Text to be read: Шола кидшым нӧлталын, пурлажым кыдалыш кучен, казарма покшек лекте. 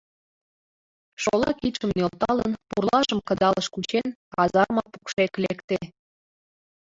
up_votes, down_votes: 2, 0